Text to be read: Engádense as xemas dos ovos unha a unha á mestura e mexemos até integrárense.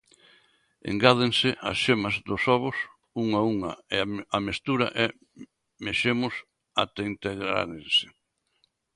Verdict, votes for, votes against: rejected, 0, 2